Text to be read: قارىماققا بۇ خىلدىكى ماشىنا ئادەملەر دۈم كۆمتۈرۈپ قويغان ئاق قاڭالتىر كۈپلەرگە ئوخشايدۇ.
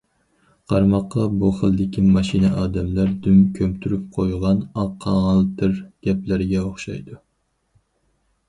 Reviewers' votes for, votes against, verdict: 2, 4, rejected